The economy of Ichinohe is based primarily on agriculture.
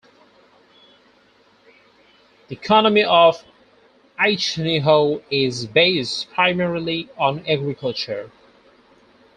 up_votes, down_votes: 2, 4